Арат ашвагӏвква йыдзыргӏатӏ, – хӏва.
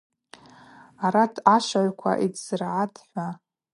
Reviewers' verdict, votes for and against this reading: accepted, 2, 0